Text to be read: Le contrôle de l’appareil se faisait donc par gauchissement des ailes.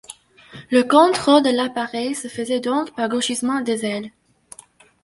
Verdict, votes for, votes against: accepted, 2, 0